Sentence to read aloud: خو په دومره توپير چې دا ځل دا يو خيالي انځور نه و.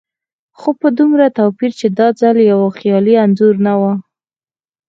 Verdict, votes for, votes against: accepted, 4, 0